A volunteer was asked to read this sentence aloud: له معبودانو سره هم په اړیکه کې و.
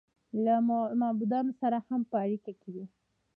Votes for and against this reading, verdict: 1, 2, rejected